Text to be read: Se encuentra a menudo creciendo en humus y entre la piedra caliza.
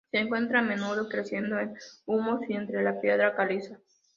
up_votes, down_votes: 3, 0